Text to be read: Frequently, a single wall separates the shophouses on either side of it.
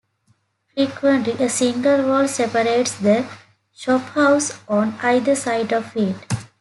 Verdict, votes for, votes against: accepted, 2, 0